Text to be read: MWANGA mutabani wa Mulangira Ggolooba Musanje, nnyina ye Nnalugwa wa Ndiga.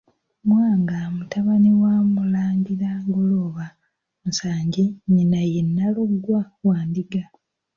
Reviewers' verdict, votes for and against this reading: rejected, 0, 2